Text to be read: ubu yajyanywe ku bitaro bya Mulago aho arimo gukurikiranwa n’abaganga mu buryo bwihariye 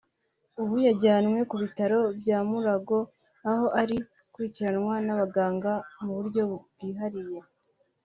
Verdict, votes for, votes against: accepted, 3, 2